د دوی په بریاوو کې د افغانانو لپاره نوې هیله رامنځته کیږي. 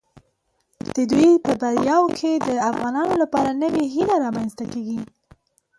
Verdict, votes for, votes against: rejected, 0, 2